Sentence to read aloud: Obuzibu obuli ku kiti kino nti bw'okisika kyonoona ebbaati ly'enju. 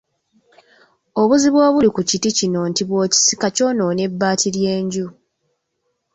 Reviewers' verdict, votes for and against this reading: accepted, 3, 0